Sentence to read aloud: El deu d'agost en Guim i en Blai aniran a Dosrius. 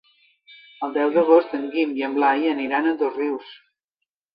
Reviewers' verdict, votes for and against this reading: accepted, 2, 0